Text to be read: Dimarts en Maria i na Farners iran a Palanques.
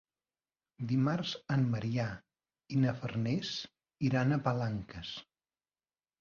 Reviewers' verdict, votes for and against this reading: rejected, 1, 2